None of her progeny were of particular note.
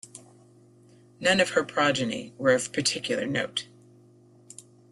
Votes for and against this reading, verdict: 2, 1, accepted